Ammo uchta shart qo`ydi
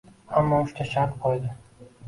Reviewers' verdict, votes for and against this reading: accepted, 2, 1